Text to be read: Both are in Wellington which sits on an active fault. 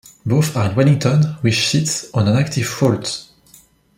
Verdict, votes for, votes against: rejected, 1, 2